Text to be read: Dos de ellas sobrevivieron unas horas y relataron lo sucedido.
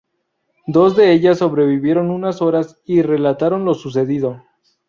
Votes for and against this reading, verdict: 0, 2, rejected